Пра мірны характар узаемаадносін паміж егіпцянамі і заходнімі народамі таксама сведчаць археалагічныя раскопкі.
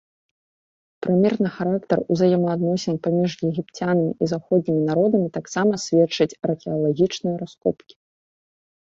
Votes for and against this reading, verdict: 0, 2, rejected